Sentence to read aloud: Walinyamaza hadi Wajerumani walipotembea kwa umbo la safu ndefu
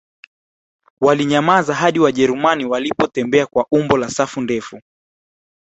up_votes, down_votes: 2, 0